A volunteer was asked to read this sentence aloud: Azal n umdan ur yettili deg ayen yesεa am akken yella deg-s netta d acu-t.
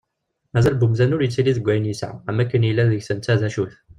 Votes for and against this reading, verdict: 0, 2, rejected